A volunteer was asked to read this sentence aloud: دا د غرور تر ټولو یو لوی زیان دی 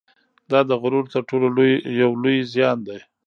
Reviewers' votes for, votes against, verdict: 1, 2, rejected